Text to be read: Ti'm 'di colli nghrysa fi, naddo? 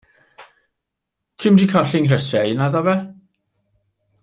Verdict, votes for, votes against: rejected, 0, 2